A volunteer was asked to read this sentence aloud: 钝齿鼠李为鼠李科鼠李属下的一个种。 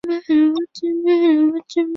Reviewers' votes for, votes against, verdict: 1, 2, rejected